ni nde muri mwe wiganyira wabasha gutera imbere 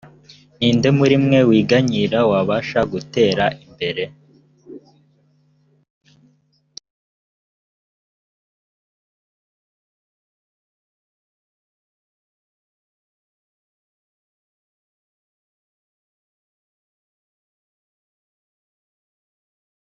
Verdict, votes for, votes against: rejected, 0, 2